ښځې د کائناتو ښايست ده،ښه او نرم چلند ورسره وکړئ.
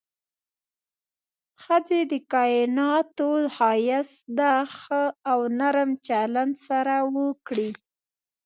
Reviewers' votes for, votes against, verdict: 1, 2, rejected